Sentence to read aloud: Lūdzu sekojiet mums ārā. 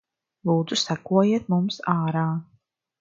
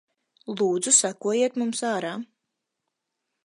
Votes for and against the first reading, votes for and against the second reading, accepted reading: 2, 0, 2, 2, first